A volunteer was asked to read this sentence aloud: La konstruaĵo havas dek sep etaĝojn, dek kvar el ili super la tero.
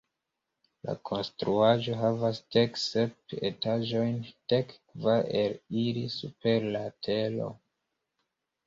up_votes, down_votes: 1, 2